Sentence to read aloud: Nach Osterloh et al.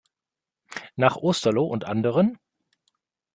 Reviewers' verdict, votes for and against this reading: rejected, 0, 2